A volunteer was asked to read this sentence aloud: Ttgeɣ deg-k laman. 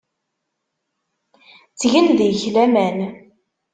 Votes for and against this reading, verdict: 1, 2, rejected